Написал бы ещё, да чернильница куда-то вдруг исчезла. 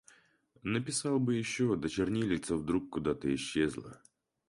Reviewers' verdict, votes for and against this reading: rejected, 0, 4